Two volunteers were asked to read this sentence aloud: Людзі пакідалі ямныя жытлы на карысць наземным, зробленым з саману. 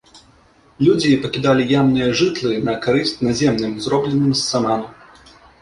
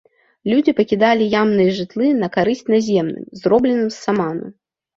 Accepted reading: second